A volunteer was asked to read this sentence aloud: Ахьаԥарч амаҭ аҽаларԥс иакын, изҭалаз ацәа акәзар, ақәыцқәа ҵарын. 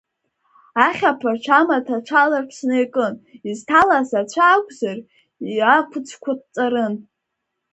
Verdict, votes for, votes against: rejected, 1, 4